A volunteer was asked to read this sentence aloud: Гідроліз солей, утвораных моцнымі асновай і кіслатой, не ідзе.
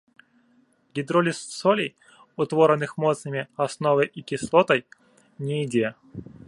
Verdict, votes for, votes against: rejected, 1, 3